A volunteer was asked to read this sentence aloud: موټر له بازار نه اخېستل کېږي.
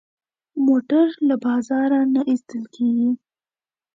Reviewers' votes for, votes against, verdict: 2, 0, accepted